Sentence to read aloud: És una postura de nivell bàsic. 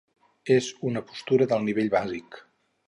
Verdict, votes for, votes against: rejected, 2, 4